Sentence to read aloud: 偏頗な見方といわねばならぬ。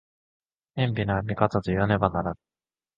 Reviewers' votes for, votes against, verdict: 2, 0, accepted